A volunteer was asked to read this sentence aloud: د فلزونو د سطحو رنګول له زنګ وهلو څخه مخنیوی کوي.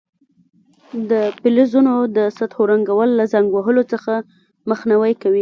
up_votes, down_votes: 2, 1